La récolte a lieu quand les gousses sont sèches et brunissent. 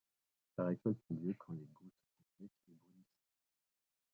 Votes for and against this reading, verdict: 0, 2, rejected